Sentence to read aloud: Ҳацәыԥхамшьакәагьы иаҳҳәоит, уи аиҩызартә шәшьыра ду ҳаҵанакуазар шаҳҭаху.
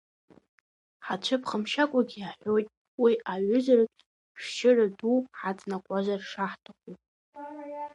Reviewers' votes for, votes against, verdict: 2, 0, accepted